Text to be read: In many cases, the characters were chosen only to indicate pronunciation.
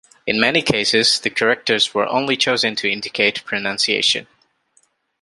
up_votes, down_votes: 0, 2